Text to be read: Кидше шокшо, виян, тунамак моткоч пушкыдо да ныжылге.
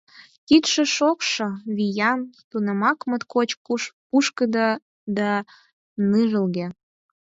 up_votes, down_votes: 4, 2